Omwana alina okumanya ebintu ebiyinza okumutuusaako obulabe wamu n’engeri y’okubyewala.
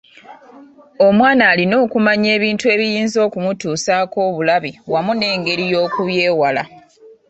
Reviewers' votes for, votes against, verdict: 2, 3, rejected